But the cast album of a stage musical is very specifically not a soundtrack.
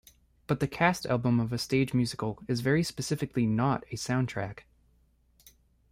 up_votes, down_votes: 2, 0